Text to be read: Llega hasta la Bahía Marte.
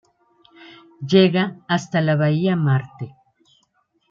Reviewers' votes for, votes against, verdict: 2, 0, accepted